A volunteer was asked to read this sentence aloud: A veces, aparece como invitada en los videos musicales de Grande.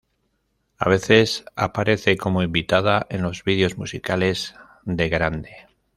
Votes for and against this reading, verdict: 2, 0, accepted